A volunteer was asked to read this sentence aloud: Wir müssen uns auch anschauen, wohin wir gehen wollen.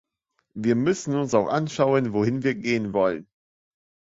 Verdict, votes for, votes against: accepted, 3, 0